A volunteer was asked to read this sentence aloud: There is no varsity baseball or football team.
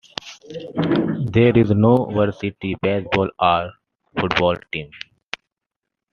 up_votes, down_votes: 2, 1